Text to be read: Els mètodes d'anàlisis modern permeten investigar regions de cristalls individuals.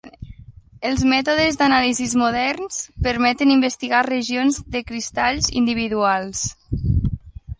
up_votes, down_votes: 2, 1